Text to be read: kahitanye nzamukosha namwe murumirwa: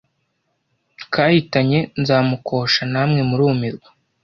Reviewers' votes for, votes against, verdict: 2, 0, accepted